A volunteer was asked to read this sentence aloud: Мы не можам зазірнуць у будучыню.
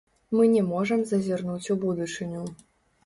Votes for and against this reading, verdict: 1, 2, rejected